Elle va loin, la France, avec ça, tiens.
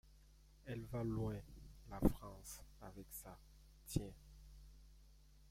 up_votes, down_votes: 2, 0